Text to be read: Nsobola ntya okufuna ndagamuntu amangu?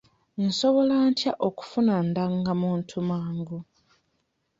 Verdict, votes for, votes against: rejected, 1, 2